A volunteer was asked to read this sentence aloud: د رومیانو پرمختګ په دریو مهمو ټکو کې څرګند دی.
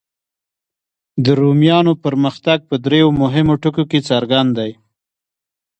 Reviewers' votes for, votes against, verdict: 3, 0, accepted